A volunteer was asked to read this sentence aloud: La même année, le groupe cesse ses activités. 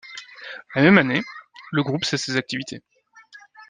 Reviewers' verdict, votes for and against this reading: accepted, 2, 0